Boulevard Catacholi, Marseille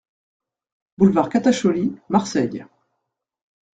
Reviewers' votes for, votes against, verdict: 2, 0, accepted